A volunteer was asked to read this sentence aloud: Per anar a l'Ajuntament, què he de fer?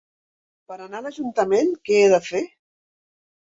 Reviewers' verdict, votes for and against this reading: accepted, 4, 0